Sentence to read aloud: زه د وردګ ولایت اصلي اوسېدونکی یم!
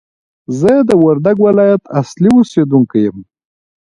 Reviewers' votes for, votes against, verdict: 2, 0, accepted